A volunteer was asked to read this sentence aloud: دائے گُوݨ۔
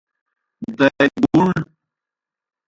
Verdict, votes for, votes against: rejected, 0, 2